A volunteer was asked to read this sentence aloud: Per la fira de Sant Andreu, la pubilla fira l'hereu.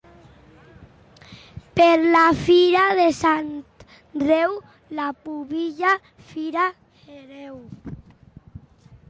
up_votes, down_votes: 0, 2